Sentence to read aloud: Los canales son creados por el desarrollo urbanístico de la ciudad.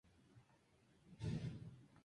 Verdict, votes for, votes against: rejected, 0, 2